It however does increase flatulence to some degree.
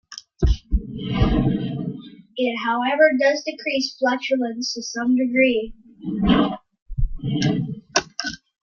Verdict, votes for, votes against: accepted, 2, 1